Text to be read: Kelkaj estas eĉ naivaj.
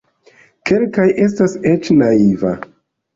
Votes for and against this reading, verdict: 0, 2, rejected